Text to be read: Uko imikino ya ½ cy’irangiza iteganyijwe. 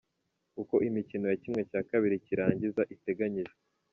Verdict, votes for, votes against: accepted, 2, 1